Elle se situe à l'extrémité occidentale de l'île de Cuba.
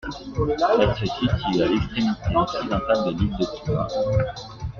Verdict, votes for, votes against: accepted, 2, 1